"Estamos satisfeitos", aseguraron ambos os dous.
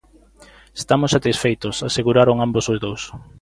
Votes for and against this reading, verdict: 2, 0, accepted